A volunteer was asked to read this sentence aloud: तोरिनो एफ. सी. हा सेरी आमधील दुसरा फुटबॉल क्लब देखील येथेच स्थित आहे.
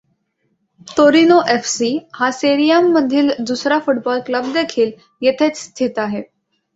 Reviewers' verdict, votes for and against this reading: rejected, 0, 2